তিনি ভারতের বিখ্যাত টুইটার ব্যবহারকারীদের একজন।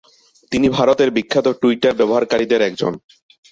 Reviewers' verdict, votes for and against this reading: accepted, 2, 0